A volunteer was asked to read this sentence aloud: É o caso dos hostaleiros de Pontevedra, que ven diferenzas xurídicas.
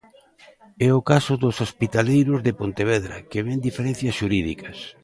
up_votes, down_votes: 0, 2